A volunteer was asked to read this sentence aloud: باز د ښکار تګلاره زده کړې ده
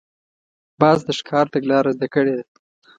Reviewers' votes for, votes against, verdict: 2, 0, accepted